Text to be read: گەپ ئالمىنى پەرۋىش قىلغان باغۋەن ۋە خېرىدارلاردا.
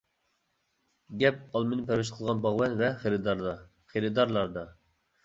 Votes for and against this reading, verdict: 0, 2, rejected